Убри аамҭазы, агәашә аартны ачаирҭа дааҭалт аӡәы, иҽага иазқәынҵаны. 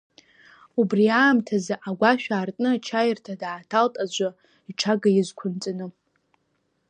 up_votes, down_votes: 0, 2